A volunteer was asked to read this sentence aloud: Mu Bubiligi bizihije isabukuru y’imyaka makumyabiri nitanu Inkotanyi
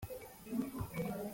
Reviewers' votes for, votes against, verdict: 0, 3, rejected